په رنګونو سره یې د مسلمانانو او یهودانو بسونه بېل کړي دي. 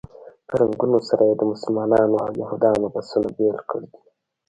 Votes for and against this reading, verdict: 1, 2, rejected